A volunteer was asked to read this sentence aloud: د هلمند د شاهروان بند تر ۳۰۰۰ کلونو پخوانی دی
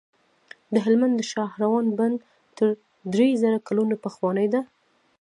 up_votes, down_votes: 0, 2